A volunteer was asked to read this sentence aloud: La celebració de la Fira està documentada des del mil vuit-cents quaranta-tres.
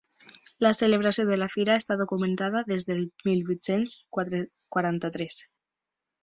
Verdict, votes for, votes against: rejected, 1, 2